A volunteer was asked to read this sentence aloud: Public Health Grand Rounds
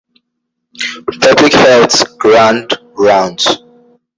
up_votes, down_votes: 1, 2